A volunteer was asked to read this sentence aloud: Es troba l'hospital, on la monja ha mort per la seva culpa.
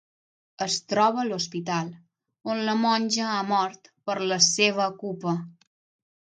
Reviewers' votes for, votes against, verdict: 0, 6, rejected